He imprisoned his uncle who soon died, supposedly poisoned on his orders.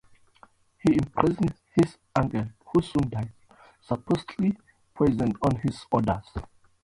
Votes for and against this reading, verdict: 1, 2, rejected